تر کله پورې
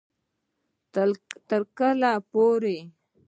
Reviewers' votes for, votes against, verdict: 2, 0, accepted